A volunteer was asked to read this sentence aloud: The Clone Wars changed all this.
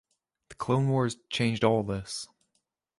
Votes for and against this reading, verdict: 2, 1, accepted